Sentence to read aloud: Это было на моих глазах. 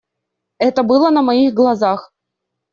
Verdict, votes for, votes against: accepted, 2, 0